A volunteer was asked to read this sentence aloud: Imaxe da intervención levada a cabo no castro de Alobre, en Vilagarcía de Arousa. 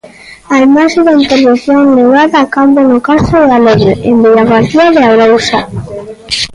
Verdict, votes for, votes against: rejected, 0, 2